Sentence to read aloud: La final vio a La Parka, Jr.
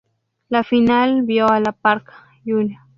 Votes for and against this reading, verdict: 2, 0, accepted